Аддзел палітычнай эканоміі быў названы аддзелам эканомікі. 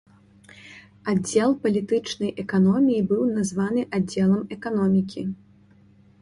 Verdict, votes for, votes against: accepted, 2, 0